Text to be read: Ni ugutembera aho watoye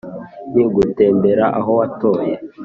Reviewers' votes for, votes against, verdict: 2, 0, accepted